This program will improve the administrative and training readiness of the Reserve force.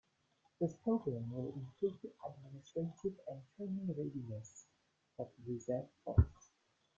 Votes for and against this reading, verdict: 1, 2, rejected